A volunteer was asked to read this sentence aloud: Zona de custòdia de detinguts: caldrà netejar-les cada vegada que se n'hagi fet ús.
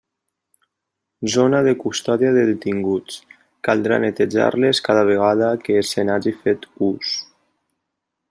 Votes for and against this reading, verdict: 3, 0, accepted